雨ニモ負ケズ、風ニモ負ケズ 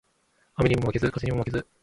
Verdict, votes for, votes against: rejected, 1, 2